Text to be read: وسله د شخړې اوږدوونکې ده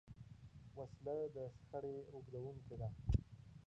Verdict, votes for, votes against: rejected, 0, 4